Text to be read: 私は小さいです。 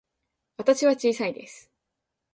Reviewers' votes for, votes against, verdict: 2, 0, accepted